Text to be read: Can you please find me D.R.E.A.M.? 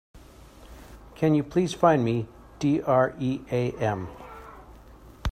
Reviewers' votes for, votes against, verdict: 2, 0, accepted